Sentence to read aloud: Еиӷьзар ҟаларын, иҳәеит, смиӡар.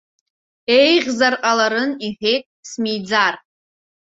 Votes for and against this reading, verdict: 2, 0, accepted